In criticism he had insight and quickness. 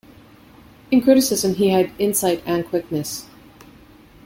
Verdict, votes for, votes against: accepted, 2, 0